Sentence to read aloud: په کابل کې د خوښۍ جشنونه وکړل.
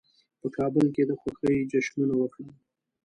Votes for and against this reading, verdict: 2, 0, accepted